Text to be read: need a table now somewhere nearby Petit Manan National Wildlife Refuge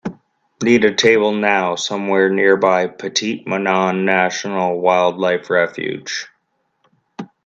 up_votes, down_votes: 2, 1